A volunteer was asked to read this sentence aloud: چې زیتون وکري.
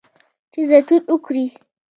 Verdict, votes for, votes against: rejected, 0, 2